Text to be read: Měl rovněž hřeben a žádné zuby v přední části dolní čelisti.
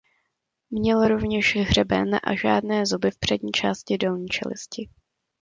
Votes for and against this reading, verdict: 2, 0, accepted